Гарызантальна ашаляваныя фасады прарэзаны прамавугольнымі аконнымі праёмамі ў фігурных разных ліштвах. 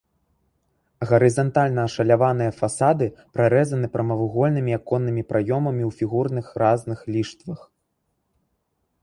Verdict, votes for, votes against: rejected, 0, 2